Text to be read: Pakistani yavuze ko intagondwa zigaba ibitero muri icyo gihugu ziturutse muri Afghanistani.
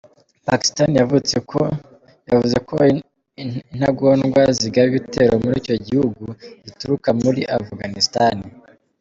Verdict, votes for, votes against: rejected, 1, 2